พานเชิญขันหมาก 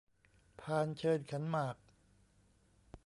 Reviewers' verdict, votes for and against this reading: accepted, 2, 0